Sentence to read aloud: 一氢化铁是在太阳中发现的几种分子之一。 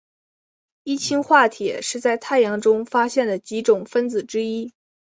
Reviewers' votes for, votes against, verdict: 2, 0, accepted